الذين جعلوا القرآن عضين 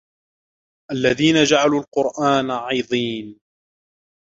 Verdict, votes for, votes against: rejected, 1, 2